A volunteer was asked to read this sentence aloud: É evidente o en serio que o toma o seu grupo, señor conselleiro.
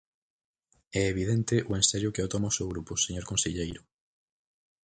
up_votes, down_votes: 4, 0